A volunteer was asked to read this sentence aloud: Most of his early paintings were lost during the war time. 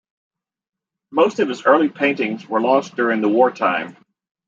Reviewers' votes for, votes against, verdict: 2, 0, accepted